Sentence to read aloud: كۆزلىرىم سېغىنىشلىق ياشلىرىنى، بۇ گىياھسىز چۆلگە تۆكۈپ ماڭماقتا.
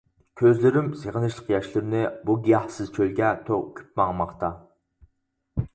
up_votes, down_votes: 2, 4